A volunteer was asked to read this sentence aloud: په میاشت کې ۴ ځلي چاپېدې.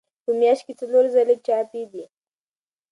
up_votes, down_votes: 0, 2